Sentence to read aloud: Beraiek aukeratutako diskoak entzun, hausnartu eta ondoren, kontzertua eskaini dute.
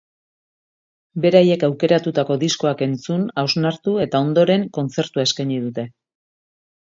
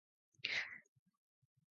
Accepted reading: first